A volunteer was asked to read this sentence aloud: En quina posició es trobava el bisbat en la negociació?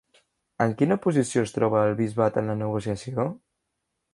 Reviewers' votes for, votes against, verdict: 0, 2, rejected